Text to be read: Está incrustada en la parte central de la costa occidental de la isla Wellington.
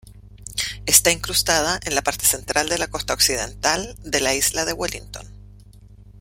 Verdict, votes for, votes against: rejected, 1, 2